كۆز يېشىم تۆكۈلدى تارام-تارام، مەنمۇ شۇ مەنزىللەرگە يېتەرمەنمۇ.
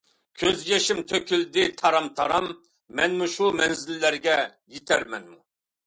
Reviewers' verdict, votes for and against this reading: accepted, 2, 0